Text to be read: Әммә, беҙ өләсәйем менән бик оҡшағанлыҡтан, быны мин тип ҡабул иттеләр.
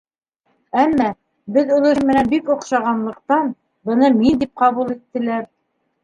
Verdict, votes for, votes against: rejected, 1, 2